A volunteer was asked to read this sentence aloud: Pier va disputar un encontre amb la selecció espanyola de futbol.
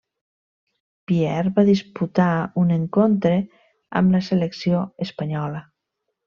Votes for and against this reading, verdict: 0, 2, rejected